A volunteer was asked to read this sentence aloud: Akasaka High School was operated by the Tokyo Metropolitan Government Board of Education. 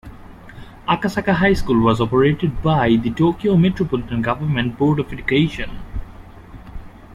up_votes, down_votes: 2, 0